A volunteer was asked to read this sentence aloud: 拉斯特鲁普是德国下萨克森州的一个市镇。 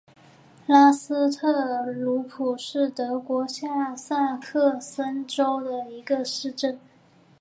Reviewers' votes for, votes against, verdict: 4, 1, accepted